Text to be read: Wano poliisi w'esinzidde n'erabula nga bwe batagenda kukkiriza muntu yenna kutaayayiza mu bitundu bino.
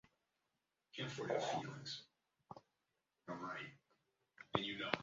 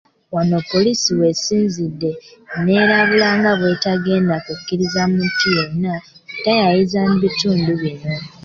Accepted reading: second